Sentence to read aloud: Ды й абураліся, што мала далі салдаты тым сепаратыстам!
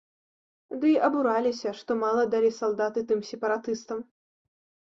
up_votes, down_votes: 2, 0